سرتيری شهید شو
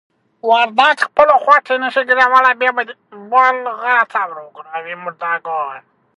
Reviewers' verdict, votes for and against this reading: rejected, 0, 2